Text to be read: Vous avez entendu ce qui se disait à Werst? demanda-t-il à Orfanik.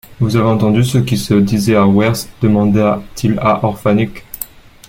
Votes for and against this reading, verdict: 0, 2, rejected